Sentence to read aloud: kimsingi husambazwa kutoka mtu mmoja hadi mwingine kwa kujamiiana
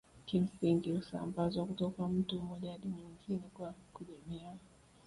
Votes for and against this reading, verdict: 2, 1, accepted